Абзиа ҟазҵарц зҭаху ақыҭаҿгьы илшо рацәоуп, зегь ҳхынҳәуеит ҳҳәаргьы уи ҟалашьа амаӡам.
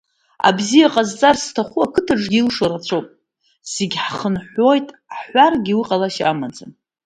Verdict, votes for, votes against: rejected, 0, 2